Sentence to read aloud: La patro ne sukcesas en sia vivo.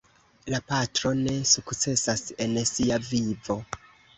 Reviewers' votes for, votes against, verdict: 2, 0, accepted